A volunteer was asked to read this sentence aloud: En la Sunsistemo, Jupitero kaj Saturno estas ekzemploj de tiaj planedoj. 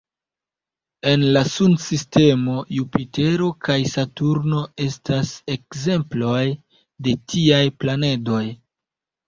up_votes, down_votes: 2, 0